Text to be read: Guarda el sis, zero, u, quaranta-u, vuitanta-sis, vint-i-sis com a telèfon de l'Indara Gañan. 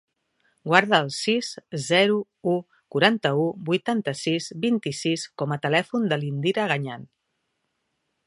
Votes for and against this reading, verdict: 1, 3, rejected